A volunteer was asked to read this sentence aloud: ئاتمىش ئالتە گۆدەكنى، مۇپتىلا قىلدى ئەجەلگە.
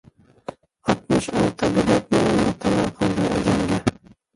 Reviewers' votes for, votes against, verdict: 0, 2, rejected